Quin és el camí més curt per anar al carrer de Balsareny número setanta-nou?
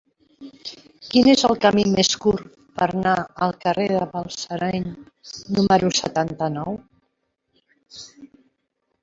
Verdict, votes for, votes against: rejected, 0, 2